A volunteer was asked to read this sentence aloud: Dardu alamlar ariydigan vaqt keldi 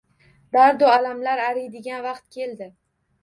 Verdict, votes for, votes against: rejected, 1, 2